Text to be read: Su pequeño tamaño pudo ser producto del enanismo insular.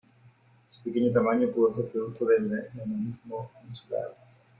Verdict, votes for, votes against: rejected, 1, 2